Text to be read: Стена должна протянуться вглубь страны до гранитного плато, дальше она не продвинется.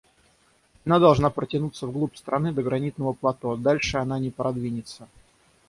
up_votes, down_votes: 3, 3